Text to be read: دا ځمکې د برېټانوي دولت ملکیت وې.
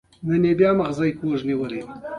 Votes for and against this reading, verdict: 1, 2, rejected